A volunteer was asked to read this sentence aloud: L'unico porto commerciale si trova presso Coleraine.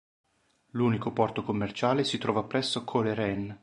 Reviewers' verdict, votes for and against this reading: accepted, 2, 0